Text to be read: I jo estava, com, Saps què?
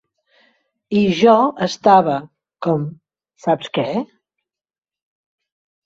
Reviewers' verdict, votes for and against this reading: accepted, 3, 0